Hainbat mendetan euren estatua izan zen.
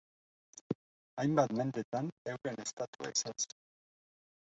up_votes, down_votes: 3, 1